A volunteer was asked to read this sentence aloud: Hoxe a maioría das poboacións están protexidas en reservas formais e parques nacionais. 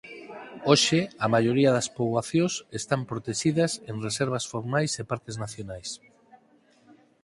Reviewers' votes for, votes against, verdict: 4, 0, accepted